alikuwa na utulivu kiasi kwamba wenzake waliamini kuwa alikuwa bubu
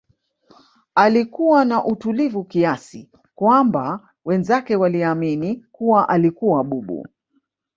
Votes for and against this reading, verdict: 1, 2, rejected